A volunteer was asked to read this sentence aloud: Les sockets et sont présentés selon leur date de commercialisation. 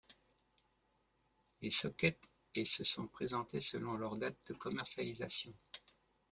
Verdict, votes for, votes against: accepted, 2, 0